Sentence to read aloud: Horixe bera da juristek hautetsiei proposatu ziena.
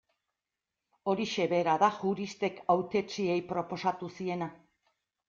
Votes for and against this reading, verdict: 2, 0, accepted